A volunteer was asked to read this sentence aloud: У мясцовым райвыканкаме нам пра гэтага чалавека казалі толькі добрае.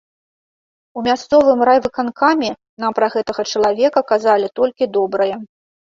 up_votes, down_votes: 2, 0